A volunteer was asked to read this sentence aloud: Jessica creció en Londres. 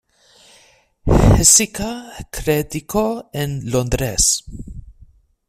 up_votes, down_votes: 1, 2